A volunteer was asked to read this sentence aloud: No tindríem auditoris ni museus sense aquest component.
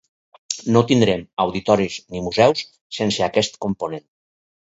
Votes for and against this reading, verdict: 2, 2, rejected